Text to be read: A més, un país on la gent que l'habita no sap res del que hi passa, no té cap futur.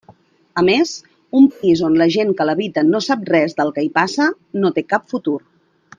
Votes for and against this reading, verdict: 0, 2, rejected